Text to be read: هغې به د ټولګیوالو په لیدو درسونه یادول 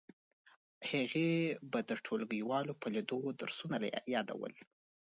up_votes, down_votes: 2, 0